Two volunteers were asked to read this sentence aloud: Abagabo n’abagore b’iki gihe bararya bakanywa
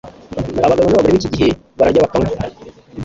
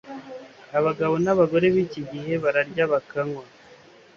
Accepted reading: second